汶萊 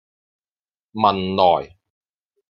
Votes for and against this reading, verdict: 2, 0, accepted